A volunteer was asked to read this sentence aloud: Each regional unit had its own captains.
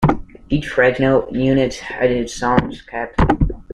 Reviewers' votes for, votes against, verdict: 0, 2, rejected